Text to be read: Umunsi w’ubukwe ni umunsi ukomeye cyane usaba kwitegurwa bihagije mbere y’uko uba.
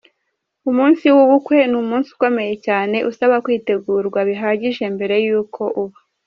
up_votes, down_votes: 2, 0